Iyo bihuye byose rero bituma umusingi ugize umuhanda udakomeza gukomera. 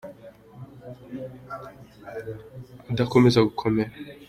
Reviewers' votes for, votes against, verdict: 2, 0, accepted